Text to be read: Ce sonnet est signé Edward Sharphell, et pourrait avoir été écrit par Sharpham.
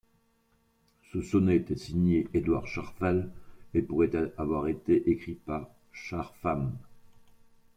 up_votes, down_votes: 0, 2